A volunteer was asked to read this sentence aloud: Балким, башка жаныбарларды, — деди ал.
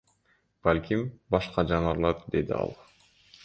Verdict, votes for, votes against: rejected, 0, 2